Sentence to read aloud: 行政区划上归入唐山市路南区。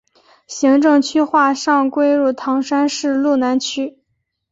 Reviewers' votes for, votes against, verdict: 8, 0, accepted